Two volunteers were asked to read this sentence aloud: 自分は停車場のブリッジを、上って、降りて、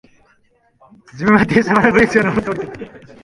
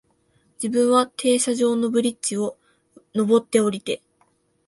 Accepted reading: second